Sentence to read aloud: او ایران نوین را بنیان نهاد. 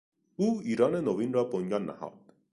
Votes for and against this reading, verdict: 2, 0, accepted